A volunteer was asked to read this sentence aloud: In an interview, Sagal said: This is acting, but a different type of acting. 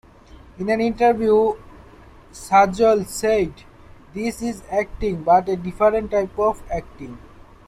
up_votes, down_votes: 2, 1